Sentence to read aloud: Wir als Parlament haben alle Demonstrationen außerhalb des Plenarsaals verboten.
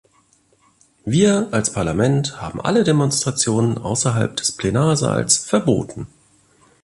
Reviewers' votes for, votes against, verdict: 2, 0, accepted